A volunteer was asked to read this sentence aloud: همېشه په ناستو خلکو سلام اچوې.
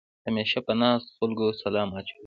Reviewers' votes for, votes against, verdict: 2, 1, accepted